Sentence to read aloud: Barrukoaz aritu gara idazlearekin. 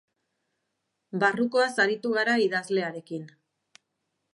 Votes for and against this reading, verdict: 3, 0, accepted